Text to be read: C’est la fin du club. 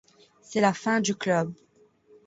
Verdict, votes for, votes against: accepted, 2, 1